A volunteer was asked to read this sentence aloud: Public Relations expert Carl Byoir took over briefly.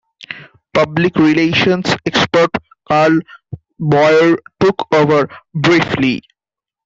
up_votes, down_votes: 2, 0